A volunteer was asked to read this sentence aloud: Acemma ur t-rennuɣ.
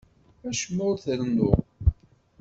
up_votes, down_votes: 2, 0